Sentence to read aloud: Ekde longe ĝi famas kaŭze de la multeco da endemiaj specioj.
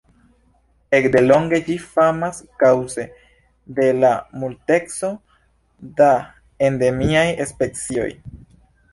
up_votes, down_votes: 0, 2